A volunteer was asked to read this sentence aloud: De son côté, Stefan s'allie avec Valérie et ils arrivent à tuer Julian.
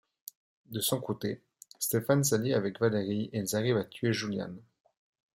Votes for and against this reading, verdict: 3, 0, accepted